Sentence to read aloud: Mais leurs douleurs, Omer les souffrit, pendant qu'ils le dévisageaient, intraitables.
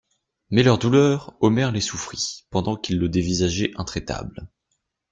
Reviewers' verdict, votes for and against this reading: accepted, 2, 0